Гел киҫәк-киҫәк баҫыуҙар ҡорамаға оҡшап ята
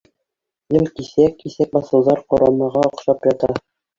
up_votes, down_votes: 1, 2